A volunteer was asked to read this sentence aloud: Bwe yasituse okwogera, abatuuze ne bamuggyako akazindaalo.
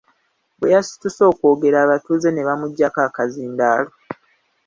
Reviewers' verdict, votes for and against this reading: accepted, 2, 1